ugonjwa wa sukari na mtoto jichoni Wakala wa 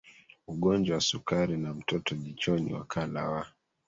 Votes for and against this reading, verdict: 2, 1, accepted